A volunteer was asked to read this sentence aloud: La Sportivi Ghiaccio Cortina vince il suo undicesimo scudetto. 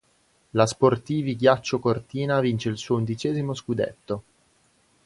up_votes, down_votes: 2, 0